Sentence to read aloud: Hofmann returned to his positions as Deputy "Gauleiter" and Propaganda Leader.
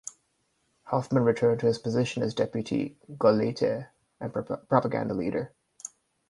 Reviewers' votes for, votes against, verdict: 2, 4, rejected